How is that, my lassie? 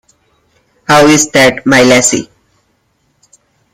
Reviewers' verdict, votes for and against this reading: accepted, 2, 0